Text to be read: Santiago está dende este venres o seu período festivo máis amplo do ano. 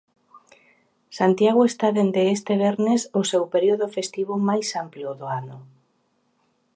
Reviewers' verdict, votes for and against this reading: rejected, 0, 2